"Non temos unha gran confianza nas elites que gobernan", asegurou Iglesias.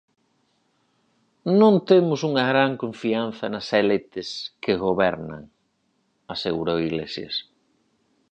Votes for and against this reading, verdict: 0, 4, rejected